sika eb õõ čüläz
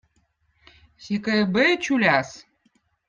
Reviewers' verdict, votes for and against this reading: accepted, 2, 0